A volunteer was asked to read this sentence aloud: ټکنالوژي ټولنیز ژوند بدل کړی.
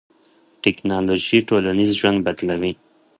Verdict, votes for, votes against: rejected, 1, 3